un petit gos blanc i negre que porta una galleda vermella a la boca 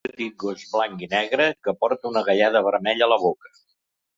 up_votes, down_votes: 0, 2